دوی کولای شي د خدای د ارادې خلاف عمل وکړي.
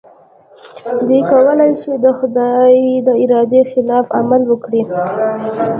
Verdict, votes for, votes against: accepted, 2, 0